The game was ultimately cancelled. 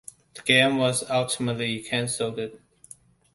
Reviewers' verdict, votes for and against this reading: rejected, 0, 2